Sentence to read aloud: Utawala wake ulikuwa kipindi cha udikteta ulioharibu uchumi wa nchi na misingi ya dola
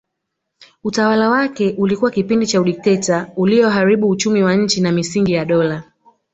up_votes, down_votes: 0, 2